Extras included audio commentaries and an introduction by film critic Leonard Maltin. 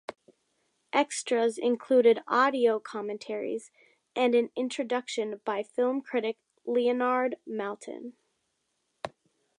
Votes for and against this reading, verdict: 2, 0, accepted